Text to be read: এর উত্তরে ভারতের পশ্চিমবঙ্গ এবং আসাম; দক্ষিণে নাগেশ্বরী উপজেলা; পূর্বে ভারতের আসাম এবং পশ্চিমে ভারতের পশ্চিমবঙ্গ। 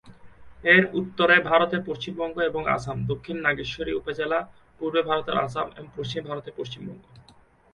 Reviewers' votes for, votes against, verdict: 0, 2, rejected